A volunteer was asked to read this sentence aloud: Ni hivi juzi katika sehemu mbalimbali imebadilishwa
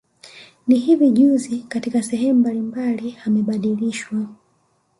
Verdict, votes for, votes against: rejected, 1, 2